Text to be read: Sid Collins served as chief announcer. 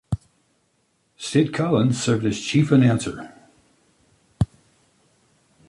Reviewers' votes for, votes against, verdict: 2, 0, accepted